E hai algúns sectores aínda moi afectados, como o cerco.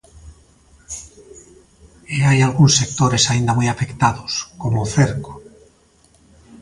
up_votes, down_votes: 3, 0